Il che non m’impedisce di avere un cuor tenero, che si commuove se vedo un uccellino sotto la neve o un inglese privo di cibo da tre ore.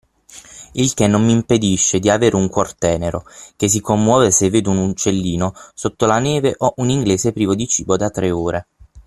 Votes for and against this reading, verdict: 9, 0, accepted